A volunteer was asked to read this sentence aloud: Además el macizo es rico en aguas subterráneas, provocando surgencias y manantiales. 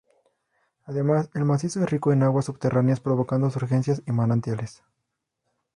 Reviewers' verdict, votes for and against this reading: rejected, 0, 2